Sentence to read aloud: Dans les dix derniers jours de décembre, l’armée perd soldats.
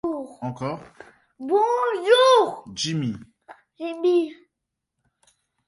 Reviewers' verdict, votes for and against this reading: rejected, 0, 2